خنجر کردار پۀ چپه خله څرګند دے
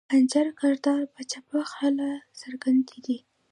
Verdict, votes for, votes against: rejected, 1, 2